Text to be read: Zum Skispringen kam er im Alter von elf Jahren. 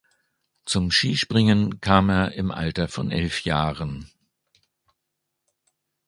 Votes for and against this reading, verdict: 2, 0, accepted